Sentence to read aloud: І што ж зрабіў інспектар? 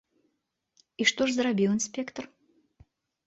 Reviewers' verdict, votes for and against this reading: accepted, 2, 0